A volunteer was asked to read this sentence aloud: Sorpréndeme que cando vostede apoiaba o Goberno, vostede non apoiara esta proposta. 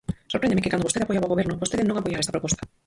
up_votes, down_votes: 0, 4